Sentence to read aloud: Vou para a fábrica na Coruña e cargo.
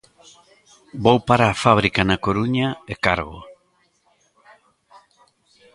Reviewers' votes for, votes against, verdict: 1, 2, rejected